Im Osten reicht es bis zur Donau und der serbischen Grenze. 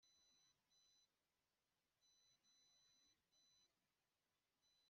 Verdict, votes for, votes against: rejected, 0, 2